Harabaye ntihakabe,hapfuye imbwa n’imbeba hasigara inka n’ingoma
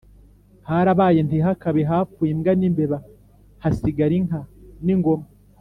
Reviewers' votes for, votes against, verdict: 2, 0, accepted